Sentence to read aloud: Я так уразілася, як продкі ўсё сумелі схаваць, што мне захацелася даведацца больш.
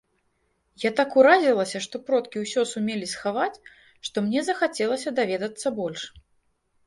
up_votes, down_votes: 0, 2